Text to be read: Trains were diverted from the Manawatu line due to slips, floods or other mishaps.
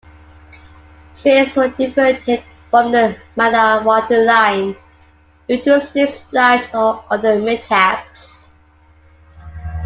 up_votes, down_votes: 1, 2